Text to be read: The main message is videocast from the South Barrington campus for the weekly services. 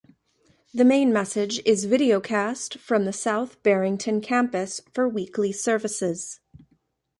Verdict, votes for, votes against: rejected, 1, 2